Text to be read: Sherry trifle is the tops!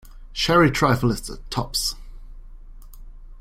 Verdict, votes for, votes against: accepted, 2, 0